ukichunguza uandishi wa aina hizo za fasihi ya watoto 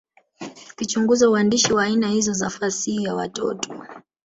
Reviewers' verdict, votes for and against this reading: accepted, 2, 1